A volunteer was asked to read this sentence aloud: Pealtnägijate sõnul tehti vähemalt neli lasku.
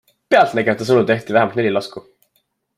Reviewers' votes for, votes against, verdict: 2, 0, accepted